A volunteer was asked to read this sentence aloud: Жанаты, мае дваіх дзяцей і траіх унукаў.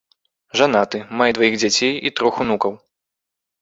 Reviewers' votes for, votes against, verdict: 1, 2, rejected